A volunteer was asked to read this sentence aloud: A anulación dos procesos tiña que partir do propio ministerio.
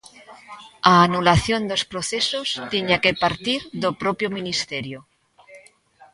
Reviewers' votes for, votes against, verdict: 2, 0, accepted